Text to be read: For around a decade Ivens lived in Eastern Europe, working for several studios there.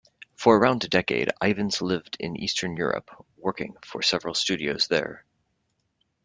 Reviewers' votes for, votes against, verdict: 2, 0, accepted